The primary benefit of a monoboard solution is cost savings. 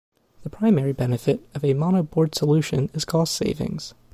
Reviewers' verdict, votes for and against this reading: accepted, 2, 0